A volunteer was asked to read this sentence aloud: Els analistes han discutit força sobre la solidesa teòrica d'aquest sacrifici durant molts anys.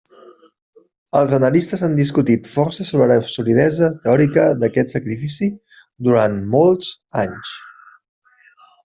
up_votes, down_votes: 3, 0